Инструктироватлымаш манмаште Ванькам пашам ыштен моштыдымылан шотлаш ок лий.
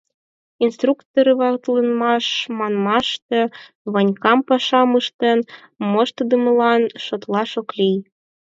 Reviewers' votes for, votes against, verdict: 0, 4, rejected